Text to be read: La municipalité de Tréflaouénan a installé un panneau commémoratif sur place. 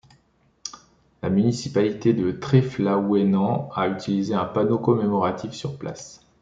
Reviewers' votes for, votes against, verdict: 0, 2, rejected